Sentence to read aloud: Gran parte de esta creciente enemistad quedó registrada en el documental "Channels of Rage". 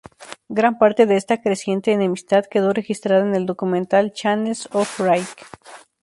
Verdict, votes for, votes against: accepted, 2, 0